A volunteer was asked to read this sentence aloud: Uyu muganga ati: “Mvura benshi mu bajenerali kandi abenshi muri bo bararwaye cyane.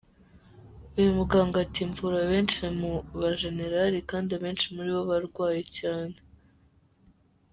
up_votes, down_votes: 1, 2